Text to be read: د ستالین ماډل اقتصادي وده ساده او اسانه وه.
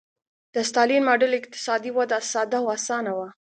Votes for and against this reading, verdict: 2, 0, accepted